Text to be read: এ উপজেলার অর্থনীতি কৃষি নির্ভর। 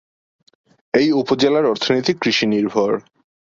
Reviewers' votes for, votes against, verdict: 2, 0, accepted